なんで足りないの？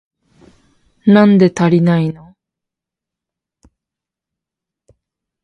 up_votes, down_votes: 0, 2